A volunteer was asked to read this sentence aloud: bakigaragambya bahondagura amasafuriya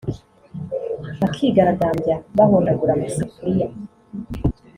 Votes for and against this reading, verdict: 2, 0, accepted